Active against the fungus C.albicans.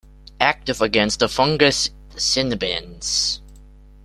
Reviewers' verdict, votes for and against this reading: rejected, 1, 2